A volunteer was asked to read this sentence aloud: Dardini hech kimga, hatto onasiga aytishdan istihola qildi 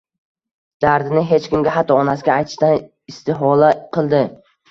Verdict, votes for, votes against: accepted, 2, 0